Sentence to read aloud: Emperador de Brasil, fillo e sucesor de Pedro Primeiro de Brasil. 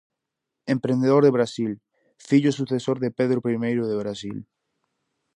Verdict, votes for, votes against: rejected, 0, 4